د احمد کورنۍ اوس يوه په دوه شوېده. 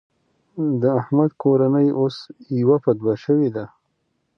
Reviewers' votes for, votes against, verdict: 2, 0, accepted